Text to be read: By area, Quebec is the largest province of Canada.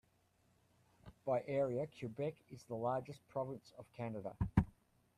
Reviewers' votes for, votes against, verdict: 0, 3, rejected